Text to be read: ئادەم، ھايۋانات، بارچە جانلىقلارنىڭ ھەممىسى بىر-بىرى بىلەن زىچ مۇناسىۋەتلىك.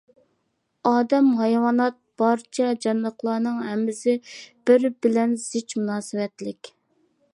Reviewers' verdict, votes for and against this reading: rejected, 0, 2